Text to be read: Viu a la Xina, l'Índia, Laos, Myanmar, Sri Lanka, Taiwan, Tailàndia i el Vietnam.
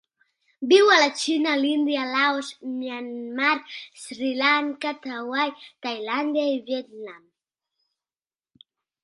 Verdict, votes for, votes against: rejected, 1, 2